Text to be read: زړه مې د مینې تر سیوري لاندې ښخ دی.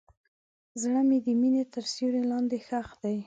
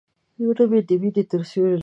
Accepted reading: first